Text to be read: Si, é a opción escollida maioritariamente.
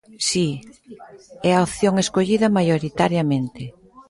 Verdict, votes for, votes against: accepted, 2, 0